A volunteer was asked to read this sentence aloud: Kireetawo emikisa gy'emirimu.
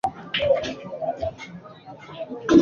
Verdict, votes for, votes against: rejected, 1, 2